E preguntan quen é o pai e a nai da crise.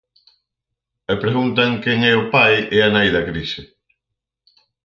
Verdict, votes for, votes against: accepted, 4, 0